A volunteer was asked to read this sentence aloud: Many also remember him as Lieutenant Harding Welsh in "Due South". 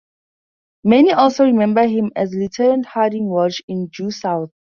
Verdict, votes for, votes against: accepted, 4, 0